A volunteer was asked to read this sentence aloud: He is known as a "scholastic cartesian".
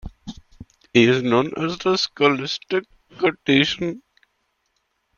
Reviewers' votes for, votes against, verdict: 1, 2, rejected